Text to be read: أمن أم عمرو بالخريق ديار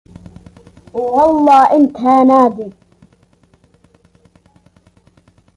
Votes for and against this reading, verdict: 0, 2, rejected